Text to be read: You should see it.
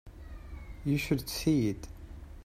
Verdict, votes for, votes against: accepted, 2, 0